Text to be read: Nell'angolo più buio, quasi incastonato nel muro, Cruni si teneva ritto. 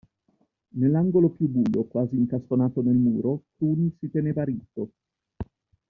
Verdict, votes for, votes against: accepted, 2, 1